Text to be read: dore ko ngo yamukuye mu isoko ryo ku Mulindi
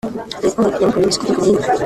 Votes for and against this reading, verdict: 1, 2, rejected